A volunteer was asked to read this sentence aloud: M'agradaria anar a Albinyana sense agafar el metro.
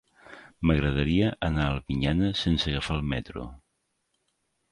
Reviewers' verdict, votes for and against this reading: accepted, 2, 0